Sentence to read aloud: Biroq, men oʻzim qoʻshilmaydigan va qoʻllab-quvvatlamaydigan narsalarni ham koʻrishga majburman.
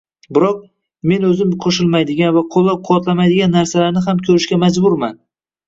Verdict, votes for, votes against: accepted, 2, 1